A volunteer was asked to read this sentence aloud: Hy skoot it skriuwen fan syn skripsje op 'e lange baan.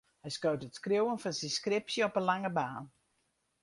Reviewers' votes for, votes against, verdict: 2, 2, rejected